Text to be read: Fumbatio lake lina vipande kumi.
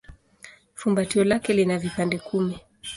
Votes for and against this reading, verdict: 2, 0, accepted